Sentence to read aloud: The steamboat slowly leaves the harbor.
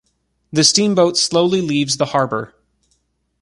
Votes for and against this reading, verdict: 2, 0, accepted